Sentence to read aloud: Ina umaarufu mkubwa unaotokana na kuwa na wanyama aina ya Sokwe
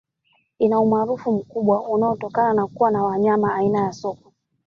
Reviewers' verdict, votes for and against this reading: rejected, 1, 2